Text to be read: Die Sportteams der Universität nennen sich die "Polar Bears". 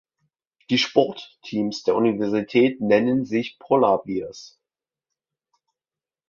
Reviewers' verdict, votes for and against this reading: rejected, 0, 2